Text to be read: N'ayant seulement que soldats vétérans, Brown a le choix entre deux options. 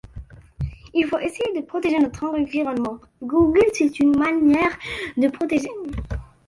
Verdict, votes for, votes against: rejected, 1, 2